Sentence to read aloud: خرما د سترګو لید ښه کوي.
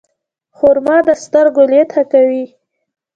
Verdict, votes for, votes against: rejected, 1, 2